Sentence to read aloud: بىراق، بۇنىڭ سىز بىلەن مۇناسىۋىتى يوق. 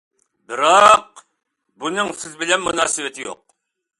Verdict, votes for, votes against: accepted, 2, 0